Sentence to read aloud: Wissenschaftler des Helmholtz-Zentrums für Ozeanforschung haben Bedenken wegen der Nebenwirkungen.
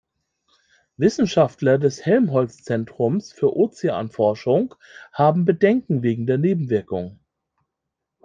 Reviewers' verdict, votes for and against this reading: rejected, 1, 2